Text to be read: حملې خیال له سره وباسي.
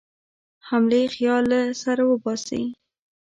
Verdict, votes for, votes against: rejected, 1, 2